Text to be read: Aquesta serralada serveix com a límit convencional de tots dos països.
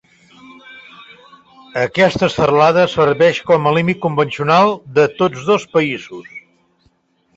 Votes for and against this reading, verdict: 2, 1, accepted